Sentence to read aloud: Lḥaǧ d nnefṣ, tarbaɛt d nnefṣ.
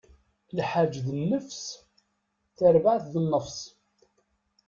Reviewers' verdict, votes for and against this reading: rejected, 1, 2